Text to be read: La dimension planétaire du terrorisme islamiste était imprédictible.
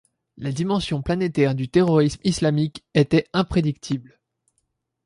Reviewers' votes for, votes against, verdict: 1, 2, rejected